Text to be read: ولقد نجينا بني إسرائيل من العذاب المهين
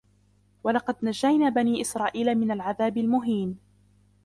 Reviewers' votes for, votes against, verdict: 0, 2, rejected